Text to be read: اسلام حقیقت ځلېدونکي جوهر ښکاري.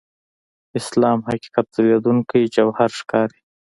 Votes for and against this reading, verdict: 2, 0, accepted